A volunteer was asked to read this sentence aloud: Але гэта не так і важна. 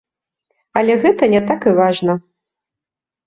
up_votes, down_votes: 2, 0